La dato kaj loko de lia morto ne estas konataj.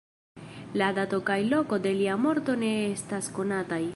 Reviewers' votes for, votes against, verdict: 2, 0, accepted